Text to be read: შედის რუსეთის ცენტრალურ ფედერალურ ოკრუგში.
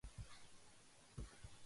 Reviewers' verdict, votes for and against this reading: rejected, 0, 2